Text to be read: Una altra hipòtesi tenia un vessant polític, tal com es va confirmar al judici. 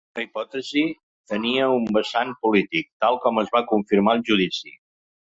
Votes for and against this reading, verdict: 0, 2, rejected